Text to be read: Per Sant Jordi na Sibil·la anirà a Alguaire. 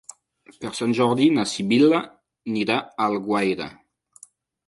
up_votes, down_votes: 0, 2